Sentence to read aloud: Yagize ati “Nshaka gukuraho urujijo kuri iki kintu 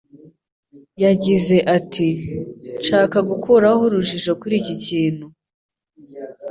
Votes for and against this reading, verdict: 2, 0, accepted